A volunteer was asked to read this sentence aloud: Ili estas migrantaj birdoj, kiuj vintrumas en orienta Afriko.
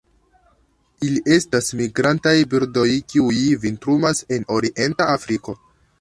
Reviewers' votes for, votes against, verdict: 2, 0, accepted